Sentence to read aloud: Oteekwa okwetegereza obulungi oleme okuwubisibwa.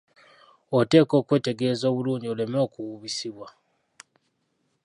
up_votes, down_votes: 0, 2